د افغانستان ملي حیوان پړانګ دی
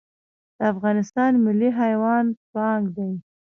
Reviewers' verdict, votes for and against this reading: rejected, 1, 2